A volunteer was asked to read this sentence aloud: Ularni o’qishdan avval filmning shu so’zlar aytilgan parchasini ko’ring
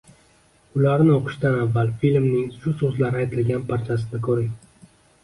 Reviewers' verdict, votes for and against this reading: accepted, 2, 0